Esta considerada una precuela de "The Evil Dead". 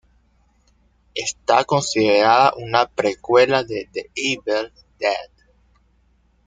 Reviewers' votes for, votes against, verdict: 1, 2, rejected